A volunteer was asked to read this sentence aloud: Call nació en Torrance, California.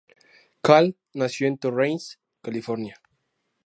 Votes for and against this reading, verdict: 2, 0, accepted